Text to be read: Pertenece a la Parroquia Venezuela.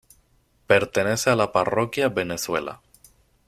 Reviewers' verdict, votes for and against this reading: accepted, 2, 0